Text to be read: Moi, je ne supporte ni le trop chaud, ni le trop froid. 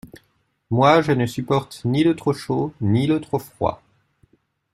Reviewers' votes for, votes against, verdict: 2, 0, accepted